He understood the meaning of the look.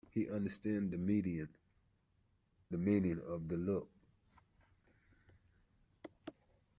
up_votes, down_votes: 0, 2